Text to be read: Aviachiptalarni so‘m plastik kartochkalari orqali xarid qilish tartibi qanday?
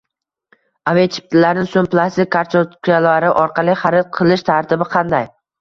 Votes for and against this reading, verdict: 1, 2, rejected